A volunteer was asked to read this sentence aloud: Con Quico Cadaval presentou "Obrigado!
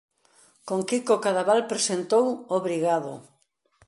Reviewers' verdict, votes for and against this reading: accepted, 2, 0